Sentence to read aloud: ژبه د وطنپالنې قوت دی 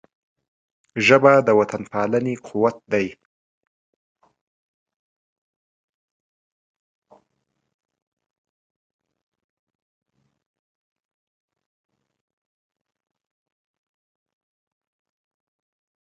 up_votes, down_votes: 0, 2